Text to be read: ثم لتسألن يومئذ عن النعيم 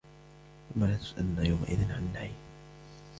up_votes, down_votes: 2, 0